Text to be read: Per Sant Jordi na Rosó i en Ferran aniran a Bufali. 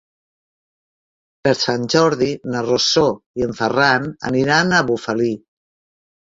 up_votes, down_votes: 1, 2